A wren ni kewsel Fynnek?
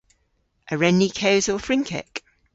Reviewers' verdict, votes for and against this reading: rejected, 1, 2